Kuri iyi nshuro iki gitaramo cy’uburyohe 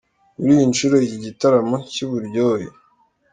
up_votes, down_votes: 2, 0